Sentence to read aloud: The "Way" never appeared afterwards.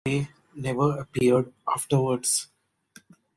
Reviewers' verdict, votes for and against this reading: rejected, 0, 2